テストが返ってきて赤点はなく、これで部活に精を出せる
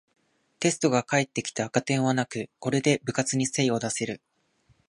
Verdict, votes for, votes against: accepted, 2, 0